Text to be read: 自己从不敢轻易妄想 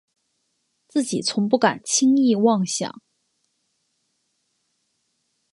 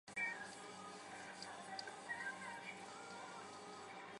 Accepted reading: first